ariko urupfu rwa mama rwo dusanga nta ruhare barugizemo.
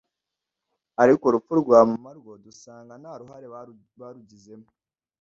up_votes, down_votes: 0, 2